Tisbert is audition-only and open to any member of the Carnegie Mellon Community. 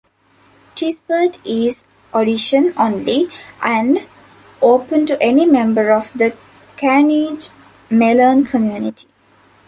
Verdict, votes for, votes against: rejected, 1, 2